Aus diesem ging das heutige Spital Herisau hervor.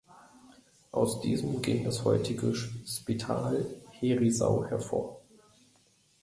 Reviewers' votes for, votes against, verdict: 0, 2, rejected